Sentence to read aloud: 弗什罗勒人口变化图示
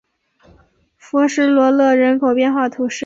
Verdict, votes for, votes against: accepted, 6, 0